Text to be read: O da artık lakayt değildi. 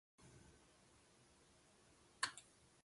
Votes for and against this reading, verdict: 0, 2, rejected